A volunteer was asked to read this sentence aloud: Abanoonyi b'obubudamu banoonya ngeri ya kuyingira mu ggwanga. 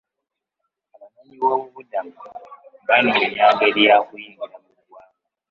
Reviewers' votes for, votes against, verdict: 0, 2, rejected